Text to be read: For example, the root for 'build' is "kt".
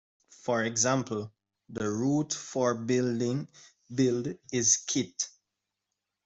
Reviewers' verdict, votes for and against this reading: rejected, 0, 2